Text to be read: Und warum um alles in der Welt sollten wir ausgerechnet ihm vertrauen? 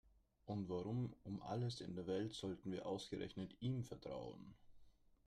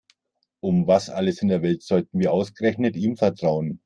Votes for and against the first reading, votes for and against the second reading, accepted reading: 2, 0, 1, 2, first